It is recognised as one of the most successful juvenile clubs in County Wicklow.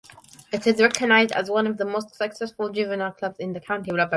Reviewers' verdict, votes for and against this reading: rejected, 1, 2